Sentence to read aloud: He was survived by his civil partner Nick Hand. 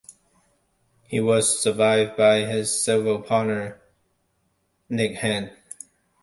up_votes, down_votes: 2, 0